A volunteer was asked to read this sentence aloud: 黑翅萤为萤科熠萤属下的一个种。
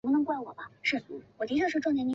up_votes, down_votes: 0, 3